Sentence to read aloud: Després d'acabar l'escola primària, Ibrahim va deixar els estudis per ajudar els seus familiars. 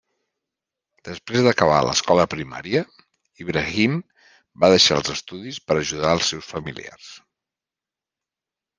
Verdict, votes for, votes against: accepted, 3, 1